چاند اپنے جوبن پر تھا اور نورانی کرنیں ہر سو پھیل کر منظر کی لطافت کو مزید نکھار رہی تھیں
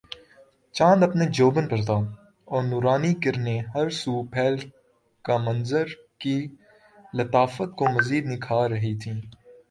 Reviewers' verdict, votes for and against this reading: accepted, 2, 0